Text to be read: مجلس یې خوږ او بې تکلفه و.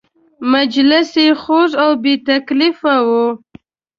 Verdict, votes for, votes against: accepted, 2, 0